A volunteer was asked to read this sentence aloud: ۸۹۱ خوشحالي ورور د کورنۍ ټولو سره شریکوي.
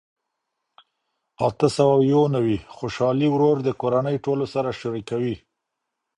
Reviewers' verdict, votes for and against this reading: rejected, 0, 2